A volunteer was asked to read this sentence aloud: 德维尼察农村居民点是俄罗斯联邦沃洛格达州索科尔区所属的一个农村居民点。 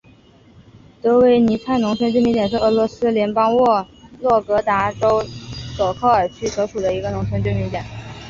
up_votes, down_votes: 1, 2